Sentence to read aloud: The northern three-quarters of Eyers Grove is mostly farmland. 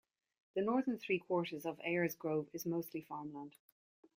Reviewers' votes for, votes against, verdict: 2, 1, accepted